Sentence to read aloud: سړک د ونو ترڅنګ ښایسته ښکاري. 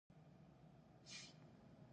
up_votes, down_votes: 0, 2